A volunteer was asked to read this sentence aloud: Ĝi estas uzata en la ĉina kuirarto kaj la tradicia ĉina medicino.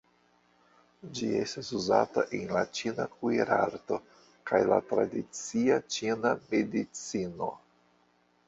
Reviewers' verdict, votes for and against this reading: rejected, 1, 2